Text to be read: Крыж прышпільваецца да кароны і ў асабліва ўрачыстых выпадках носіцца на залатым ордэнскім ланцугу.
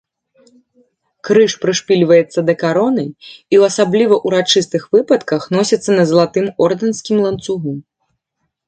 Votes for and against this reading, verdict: 2, 0, accepted